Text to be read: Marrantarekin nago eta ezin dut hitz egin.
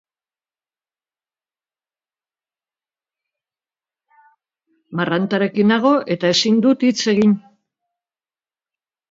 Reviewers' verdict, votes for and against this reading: rejected, 0, 2